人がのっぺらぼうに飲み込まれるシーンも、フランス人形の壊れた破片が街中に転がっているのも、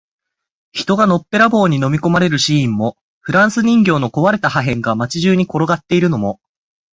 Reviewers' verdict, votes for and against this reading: accepted, 4, 0